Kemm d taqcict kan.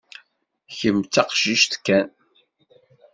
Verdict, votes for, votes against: accepted, 2, 0